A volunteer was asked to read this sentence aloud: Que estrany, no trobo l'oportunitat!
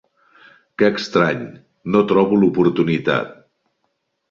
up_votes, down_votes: 3, 0